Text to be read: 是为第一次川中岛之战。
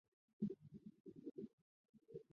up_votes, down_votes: 0, 4